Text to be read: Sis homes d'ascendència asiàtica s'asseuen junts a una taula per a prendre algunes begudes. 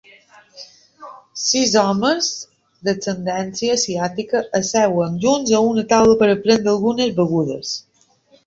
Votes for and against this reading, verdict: 1, 2, rejected